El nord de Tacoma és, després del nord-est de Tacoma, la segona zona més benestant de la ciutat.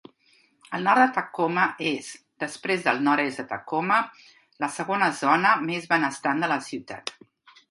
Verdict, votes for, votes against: accepted, 4, 0